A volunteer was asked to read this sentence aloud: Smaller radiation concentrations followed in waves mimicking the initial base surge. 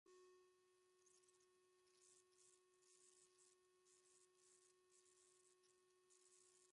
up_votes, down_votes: 0, 2